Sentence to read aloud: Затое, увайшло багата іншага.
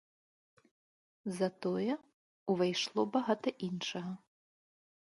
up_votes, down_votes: 2, 0